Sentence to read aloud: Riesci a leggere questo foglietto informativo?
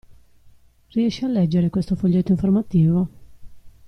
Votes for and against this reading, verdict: 2, 0, accepted